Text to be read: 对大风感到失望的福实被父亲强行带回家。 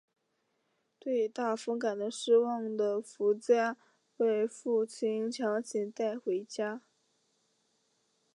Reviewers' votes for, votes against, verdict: 2, 3, rejected